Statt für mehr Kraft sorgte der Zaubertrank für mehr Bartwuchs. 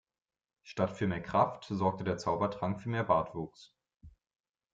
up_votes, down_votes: 2, 0